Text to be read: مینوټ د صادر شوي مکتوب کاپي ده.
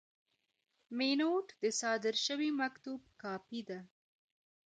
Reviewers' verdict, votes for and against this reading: rejected, 1, 2